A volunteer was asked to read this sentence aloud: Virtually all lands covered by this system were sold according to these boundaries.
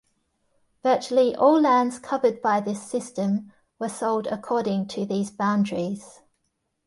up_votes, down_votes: 2, 0